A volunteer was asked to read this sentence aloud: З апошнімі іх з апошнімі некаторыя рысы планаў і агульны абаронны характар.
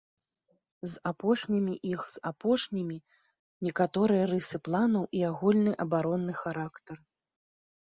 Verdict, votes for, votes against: accepted, 2, 0